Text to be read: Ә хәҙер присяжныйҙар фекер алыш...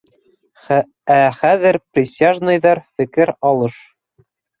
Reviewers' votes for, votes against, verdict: 0, 2, rejected